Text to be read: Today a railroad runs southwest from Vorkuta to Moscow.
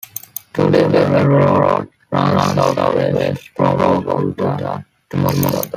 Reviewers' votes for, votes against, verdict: 0, 3, rejected